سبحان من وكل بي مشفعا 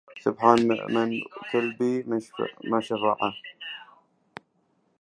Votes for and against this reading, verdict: 0, 2, rejected